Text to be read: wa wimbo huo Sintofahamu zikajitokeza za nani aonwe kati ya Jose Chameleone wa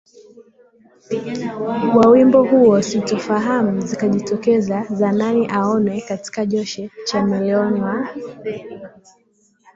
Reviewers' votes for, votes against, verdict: 2, 0, accepted